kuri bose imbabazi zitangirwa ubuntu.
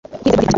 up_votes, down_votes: 2, 0